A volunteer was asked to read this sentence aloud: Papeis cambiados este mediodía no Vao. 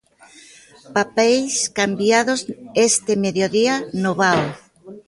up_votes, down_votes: 2, 1